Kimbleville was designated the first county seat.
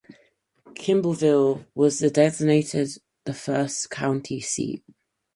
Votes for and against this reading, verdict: 0, 4, rejected